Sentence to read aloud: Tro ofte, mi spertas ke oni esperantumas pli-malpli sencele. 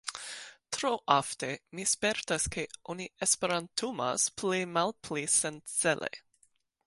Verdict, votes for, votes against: accepted, 2, 1